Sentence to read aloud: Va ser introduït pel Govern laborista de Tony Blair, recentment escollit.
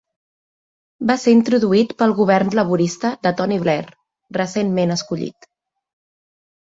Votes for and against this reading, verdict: 3, 0, accepted